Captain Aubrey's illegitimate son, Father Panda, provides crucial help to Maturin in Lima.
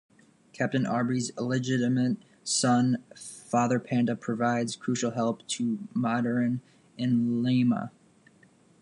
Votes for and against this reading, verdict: 0, 2, rejected